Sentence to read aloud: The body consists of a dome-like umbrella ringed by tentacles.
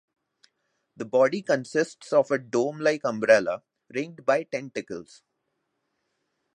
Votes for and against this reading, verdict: 2, 0, accepted